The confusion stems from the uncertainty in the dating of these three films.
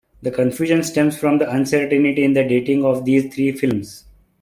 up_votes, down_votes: 2, 1